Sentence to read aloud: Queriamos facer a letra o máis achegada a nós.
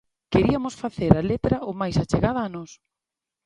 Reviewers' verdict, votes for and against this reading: rejected, 0, 2